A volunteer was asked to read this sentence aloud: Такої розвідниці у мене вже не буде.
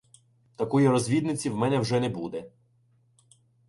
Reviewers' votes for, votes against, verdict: 2, 0, accepted